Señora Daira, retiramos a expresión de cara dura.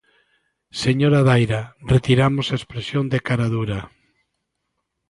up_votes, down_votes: 2, 0